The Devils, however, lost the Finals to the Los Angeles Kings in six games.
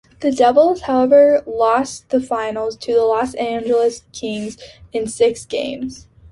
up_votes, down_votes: 3, 1